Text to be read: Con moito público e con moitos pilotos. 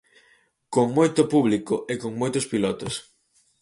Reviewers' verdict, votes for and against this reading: accepted, 4, 0